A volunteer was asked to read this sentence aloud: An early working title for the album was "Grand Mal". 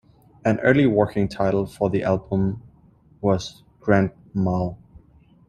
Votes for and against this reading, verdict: 2, 0, accepted